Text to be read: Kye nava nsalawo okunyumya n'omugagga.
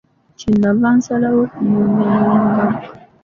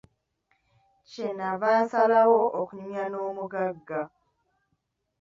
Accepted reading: second